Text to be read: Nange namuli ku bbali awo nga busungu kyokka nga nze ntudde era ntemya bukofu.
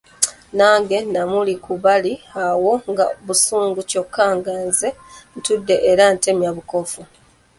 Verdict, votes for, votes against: rejected, 0, 2